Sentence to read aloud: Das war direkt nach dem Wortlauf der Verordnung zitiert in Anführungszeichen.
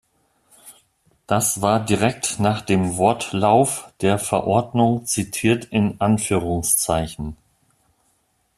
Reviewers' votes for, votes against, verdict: 2, 0, accepted